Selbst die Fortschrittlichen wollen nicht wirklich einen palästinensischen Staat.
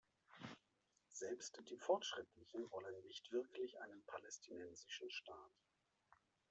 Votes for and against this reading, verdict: 1, 2, rejected